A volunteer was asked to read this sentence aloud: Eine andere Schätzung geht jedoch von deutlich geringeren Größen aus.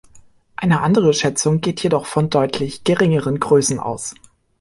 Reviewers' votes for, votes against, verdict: 2, 0, accepted